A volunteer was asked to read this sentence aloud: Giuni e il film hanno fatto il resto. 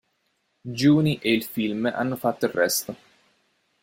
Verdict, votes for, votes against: rejected, 1, 2